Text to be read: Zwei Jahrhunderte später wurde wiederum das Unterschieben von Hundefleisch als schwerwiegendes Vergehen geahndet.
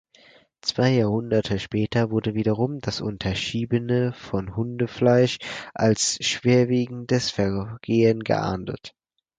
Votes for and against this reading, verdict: 0, 4, rejected